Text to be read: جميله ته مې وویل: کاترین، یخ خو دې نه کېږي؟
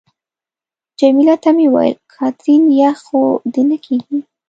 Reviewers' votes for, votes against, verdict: 1, 2, rejected